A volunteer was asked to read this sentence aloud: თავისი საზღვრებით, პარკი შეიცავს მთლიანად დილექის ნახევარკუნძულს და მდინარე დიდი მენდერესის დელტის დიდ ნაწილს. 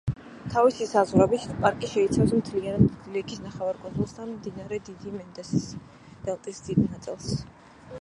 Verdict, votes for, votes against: rejected, 1, 2